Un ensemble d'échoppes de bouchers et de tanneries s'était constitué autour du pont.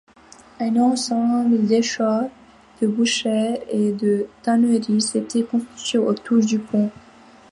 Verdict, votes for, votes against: rejected, 1, 2